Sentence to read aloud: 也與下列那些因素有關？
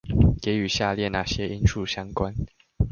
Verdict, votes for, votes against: rejected, 1, 2